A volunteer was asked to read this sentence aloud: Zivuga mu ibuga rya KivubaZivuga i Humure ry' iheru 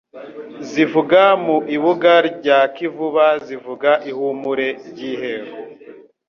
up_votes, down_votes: 2, 0